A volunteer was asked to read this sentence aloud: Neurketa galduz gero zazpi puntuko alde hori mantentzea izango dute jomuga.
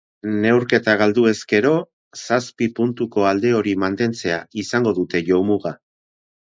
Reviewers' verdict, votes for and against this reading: accepted, 4, 2